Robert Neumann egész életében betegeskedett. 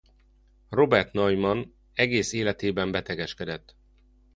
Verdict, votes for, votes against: accepted, 2, 0